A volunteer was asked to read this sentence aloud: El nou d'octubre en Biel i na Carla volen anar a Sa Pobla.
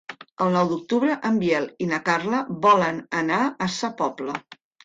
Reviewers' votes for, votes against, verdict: 4, 0, accepted